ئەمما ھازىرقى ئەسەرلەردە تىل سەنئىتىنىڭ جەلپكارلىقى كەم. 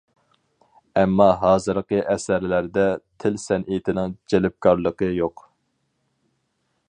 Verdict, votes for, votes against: rejected, 0, 4